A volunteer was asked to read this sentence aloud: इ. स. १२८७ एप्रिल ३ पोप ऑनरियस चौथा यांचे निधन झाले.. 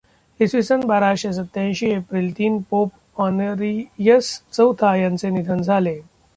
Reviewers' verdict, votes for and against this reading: rejected, 0, 2